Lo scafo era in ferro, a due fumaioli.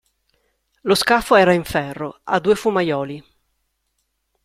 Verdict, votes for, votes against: accepted, 2, 0